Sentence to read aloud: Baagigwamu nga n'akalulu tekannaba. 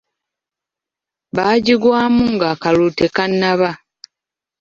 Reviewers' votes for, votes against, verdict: 2, 0, accepted